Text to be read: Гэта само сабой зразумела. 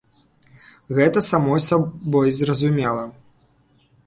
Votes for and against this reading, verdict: 1, 3, rejected